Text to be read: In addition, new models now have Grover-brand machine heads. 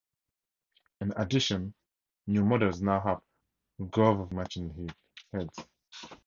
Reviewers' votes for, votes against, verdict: 2, 2, rejected